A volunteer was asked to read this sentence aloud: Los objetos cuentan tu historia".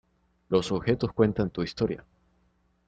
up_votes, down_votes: 2, 0